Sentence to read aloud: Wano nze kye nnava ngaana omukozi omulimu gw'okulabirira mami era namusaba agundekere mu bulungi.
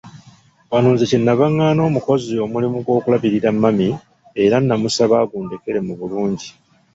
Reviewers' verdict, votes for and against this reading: rejected, 1, 2